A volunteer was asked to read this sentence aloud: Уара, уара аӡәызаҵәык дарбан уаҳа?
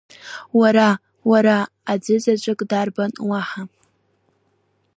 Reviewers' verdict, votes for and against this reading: rejected, 1, 2